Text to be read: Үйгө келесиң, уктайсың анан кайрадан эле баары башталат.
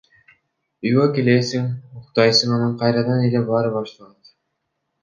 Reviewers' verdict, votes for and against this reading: rejected, 0, 2